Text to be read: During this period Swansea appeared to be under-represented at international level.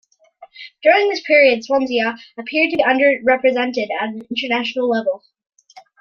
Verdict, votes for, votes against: accepted, 2, 1